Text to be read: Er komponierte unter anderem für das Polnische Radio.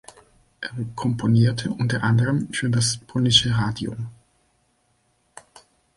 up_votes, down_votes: 2, 0